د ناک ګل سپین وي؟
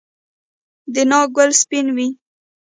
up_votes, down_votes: 0, 2